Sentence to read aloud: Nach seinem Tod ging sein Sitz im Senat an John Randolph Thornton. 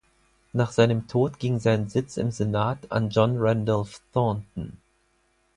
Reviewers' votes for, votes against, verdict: 4, 0, accepted